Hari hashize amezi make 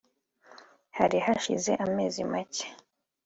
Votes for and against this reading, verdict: 2, 0, accepted